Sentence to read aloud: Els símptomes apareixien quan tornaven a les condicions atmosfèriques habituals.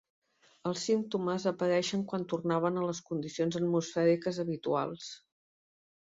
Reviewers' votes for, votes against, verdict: 1, 3, rejected